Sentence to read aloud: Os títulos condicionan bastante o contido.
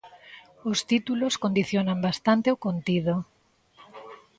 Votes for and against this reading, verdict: 2, 0, accepted